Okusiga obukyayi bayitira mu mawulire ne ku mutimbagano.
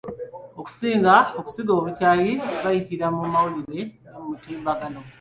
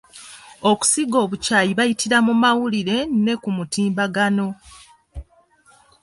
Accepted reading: second